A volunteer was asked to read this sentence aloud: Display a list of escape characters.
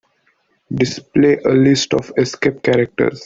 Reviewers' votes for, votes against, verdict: 2, 0, accepted